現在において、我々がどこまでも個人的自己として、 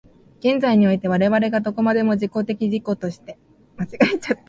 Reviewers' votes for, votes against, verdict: 0, 2, rejected